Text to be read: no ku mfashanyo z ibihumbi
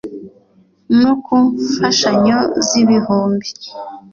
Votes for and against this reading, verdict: 2, 0, accepted